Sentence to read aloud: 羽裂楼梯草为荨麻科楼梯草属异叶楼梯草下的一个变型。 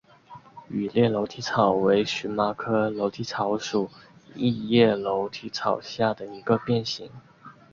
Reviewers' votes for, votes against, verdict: 2, 1, accepted